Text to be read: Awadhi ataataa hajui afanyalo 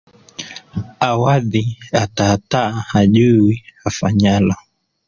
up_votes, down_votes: 1, 2